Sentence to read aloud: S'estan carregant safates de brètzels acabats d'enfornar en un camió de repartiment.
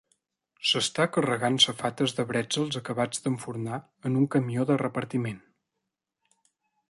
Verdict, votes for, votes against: rejected, 1, 2